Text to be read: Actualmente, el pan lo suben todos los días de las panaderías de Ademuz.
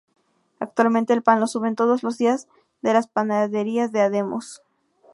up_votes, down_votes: 0, 2